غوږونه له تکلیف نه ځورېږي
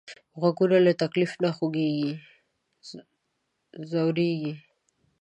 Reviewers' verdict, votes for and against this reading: rejected, 1, 2